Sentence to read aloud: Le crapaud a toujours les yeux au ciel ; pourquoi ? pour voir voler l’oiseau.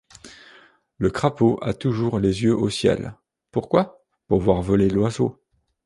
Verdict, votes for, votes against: accepted, 2, 0